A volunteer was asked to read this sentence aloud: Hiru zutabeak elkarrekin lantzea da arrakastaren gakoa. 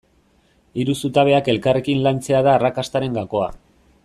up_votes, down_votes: 2, 0